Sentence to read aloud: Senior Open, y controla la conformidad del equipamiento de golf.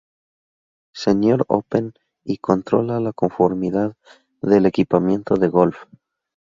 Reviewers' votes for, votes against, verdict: 2, 2, rejected